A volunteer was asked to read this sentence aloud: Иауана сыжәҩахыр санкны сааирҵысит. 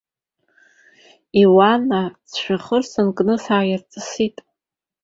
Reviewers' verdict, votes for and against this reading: accepted, 2, 0